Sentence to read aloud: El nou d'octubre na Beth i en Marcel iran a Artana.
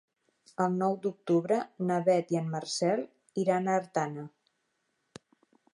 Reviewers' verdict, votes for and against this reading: accepted, 3, 0